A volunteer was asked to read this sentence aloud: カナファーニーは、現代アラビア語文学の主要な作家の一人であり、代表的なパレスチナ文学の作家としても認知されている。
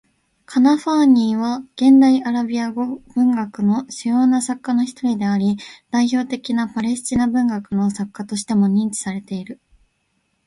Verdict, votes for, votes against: accepted, 2, 0